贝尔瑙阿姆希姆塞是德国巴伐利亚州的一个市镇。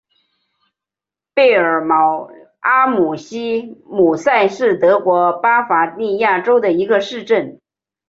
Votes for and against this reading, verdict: 7, 1, accepted